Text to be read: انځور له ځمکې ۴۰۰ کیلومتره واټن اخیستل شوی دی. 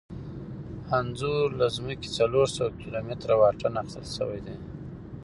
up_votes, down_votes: 0, 2